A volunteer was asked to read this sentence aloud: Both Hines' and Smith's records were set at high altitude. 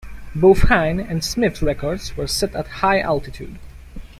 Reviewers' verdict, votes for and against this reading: rejected, 1, 2